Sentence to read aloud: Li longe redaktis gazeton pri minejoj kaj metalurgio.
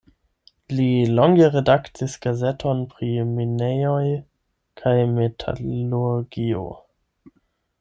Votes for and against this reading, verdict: 8, 0, accepted